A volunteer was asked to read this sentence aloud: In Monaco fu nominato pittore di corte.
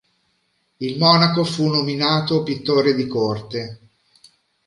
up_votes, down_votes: 1, 2